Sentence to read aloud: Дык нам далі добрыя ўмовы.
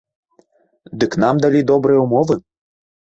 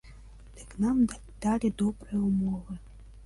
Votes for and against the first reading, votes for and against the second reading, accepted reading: 4, 0, 0, 2, first